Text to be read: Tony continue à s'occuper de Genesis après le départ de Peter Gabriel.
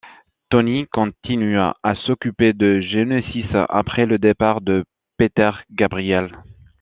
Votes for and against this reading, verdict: 2, 0, accepted